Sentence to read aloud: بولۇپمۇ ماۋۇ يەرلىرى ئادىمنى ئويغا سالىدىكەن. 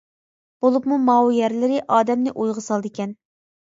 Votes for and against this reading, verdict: 2, 0, accepted